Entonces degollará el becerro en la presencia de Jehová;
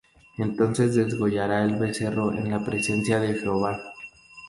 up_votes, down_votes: 2, 0